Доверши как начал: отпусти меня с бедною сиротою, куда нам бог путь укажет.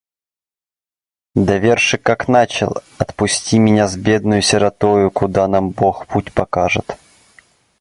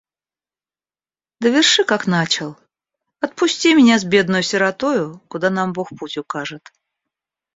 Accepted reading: second